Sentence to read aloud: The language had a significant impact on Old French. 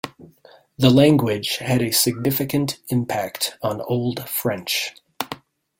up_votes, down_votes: 2, 0